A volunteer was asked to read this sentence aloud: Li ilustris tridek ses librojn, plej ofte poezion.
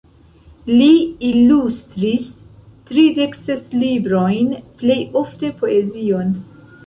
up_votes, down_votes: 1, 2